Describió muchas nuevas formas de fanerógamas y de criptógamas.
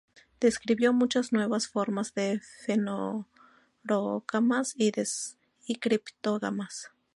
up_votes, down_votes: 0, 2